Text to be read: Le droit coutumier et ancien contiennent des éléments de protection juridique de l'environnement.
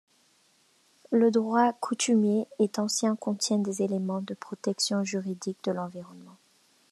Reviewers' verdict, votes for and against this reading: rejected, 0, 2